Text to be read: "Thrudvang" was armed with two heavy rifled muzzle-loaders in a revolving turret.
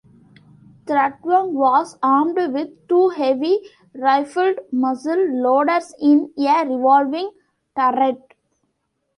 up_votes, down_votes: 0, 2